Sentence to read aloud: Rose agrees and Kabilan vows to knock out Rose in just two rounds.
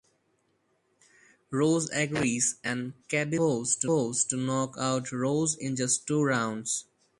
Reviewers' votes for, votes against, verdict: 0, 4, rejected